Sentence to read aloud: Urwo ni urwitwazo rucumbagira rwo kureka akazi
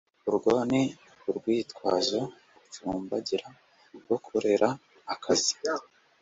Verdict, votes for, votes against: rejected, 0, 2